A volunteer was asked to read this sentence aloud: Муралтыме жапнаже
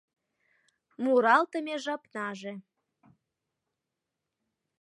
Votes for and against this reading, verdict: 3, 0, accepted